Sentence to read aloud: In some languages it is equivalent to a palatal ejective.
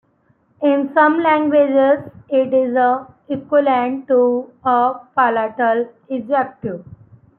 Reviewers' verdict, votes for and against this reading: rejected, 0, 3